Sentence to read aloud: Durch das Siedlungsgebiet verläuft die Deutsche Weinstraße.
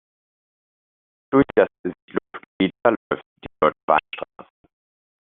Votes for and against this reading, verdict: 0, 2, rejected